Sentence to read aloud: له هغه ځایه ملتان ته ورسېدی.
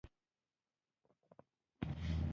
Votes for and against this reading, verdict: 1, 2, rejected